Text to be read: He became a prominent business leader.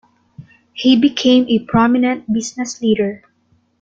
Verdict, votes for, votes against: accepted, 3, 0